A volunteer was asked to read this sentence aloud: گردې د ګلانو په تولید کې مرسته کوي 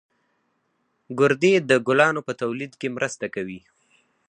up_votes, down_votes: 4, 0